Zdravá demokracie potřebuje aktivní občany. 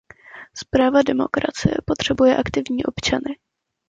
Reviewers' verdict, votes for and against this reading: rejected, 0, 2